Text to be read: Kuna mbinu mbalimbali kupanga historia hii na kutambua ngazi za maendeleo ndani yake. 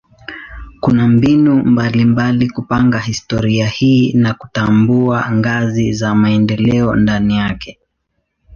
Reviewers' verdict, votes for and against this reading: accepted, 2, 0